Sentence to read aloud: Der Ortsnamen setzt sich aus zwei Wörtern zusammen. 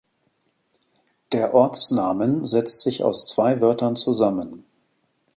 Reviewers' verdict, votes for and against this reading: accepted, 2, 0